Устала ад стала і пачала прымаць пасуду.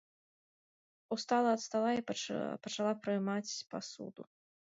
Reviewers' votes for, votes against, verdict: 0, 2, rejected